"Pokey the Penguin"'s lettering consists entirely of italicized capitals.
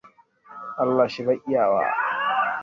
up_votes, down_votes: 0, 2